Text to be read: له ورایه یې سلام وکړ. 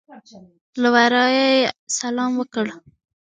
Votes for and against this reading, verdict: 4, 1, accepted